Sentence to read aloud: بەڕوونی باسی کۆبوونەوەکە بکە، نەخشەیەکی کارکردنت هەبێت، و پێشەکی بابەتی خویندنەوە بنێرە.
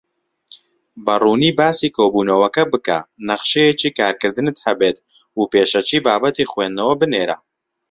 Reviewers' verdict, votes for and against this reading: accepted, 2, 0